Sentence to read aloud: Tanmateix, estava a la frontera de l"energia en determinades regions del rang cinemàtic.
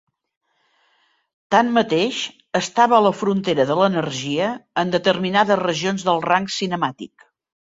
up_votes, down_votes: 2, 0